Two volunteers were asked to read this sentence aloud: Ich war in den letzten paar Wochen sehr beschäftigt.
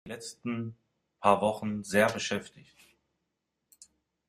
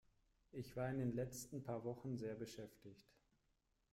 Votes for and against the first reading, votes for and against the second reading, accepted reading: 0, 2, 2, 0, second